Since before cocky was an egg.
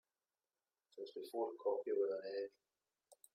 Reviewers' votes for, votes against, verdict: 1, 2, rejected